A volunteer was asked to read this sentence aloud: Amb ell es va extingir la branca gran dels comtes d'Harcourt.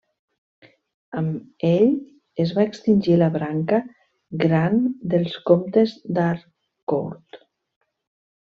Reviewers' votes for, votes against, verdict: 0, 2, rejected